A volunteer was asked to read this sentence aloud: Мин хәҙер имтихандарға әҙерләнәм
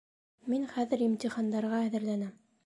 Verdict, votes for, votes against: accepted, 2, 0